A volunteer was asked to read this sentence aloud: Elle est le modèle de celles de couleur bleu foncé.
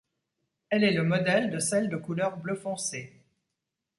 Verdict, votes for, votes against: accepted, 2, 0